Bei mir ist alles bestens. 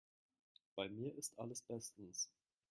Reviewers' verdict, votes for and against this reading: accepted, 2, 0